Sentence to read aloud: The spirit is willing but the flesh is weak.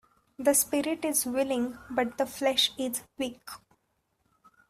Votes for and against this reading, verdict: 2, 0, accepted